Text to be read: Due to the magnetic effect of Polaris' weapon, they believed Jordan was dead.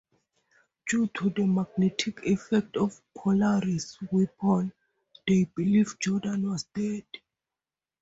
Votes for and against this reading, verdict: 6, 0, accepted